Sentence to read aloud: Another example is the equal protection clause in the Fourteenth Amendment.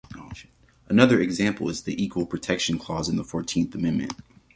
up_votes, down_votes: 0, 2